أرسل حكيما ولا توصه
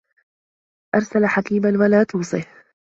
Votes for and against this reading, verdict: 2, 1, accepted